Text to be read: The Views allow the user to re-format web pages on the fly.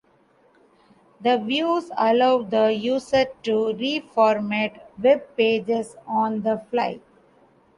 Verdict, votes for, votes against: rejected, 0, 2